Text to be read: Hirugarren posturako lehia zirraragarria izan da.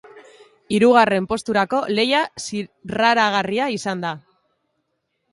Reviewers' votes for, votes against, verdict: 1, 2, rejected